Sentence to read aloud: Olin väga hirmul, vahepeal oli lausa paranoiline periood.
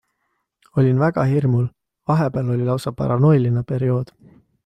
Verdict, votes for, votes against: accepted, 2, 0